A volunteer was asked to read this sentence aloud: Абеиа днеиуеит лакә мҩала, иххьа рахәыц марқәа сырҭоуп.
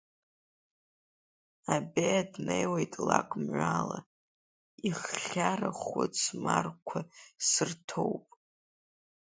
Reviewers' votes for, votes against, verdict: 2, 1, accepted